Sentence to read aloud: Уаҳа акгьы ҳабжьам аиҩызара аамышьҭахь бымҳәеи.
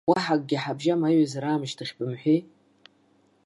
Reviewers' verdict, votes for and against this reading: accepted, 2, 0